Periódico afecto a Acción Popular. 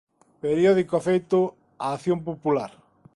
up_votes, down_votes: 1, 2